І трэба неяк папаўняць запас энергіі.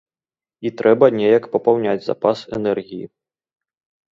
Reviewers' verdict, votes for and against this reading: accepted, 2, 0